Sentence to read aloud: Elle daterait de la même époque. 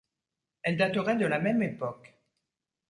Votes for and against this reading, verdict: 2, 0, accepted